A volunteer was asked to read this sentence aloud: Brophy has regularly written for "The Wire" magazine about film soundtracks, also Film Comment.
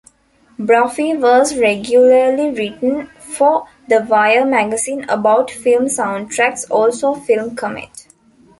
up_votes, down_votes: 0, 2